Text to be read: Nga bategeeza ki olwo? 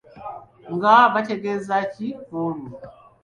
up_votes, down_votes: 1, 2